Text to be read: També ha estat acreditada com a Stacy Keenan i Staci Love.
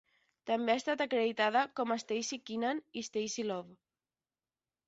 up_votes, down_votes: 10, 0